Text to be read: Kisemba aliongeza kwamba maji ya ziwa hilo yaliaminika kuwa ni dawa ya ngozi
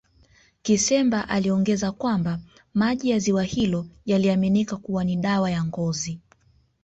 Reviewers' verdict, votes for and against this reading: accepted, 2, 0